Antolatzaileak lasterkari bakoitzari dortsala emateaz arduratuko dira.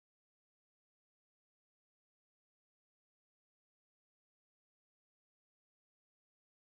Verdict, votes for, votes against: rejected, 0, 2